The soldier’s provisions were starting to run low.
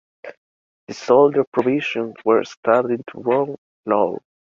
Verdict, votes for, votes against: accepted, 2, 1